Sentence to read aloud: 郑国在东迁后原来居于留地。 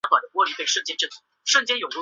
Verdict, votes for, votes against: rejected, 2, 3